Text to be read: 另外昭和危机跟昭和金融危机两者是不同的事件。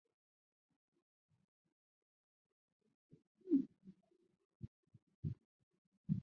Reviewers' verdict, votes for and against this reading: rejected, 0, 2